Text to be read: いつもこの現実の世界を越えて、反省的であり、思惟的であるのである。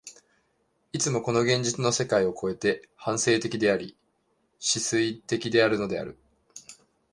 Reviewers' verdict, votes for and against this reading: rejected, 0, 2